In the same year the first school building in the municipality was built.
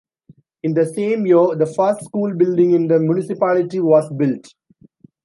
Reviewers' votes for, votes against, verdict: 1, 2, rejected